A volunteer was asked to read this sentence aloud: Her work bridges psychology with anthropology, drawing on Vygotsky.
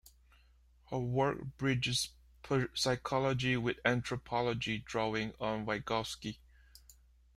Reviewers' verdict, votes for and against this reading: rejected, 0, 2